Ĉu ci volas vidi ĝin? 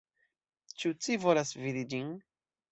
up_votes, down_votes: 2, 1